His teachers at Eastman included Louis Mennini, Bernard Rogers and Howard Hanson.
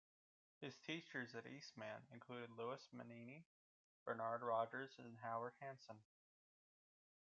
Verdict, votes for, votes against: rejected, 1, 2